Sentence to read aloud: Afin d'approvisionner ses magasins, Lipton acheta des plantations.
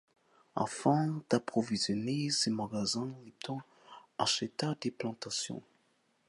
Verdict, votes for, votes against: rejected, 1, 2